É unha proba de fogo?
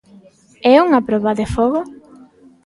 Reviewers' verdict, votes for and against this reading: accepted, 2, 0